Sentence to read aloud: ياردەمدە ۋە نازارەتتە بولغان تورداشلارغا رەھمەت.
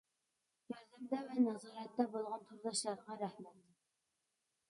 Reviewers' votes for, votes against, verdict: 1, 2, rejected